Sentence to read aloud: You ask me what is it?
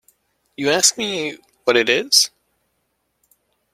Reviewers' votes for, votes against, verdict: 1, 2, rejected